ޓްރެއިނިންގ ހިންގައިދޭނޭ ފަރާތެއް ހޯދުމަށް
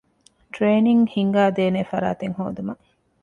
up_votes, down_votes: 2, 0